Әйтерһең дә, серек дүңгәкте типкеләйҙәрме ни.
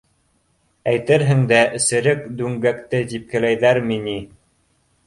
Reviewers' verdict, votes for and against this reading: accepted, 2, 0